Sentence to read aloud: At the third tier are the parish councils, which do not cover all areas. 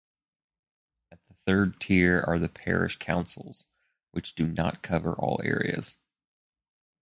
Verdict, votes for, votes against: rejected, 0, 4